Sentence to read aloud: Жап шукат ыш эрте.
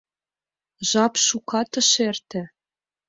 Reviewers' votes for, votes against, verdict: 2, 0, accepted